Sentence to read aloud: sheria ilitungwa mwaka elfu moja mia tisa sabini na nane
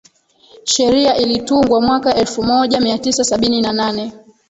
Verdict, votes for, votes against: rejected, 0, 2